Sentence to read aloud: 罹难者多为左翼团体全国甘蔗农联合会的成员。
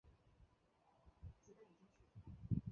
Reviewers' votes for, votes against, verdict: 0, 2, rejected